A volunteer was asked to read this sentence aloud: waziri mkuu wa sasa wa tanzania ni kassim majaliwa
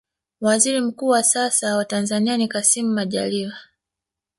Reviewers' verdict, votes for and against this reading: accepted, 3, 0